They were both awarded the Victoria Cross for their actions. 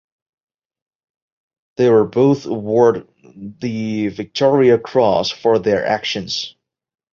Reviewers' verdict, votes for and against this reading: rejected, 1, 2